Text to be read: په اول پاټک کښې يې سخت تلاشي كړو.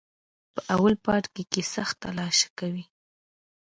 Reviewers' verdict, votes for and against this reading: rejected, 1, 2